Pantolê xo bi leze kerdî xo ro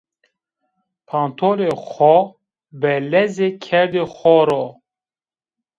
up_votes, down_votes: 1, 2